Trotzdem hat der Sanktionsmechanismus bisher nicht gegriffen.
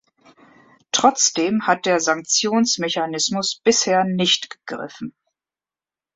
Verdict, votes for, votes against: accepted, 2, 1